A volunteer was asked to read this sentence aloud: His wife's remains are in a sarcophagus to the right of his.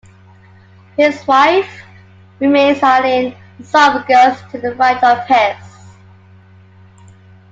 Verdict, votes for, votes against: rejected, 0, 2